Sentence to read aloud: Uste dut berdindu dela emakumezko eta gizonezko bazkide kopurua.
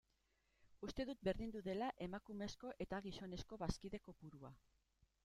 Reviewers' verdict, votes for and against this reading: rejected, 1, 2